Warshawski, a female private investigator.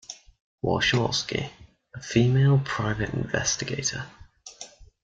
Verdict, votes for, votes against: accepted, 2, 0